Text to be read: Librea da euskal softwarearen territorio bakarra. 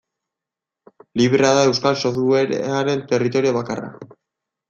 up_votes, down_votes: 1, 2